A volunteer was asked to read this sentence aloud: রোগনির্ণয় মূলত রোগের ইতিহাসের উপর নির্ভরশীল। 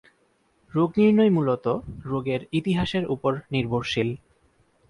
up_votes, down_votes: 4, 0